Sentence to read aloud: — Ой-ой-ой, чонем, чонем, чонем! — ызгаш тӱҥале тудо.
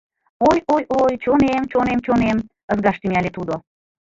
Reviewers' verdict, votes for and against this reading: rejected, 1, 2